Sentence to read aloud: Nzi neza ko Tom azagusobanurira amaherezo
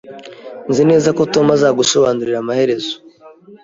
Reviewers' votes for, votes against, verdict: 3, 0, accepted